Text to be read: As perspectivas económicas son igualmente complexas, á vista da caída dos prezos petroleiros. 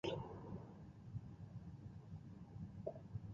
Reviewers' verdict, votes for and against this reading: rejected, 0, 2